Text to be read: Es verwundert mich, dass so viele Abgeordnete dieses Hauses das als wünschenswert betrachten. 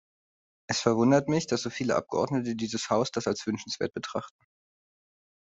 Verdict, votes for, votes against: rejected, 0, 2